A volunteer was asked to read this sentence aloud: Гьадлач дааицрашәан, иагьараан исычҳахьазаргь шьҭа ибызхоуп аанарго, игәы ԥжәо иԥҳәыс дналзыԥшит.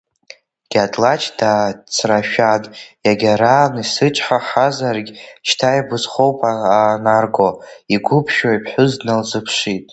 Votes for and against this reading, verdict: 0, 2, rejected